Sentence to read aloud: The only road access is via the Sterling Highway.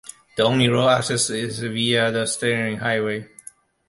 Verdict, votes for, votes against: rejected, 1, 2